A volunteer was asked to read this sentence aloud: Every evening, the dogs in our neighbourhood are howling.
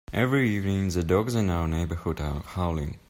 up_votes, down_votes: 2, 1